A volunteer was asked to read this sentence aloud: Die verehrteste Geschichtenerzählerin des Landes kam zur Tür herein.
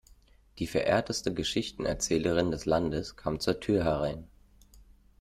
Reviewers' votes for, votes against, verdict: 2, 0, accepted